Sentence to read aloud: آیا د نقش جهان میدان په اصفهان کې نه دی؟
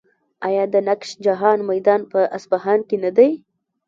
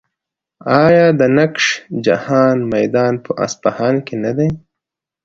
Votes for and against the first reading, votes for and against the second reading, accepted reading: 0, 2, 2, 0, second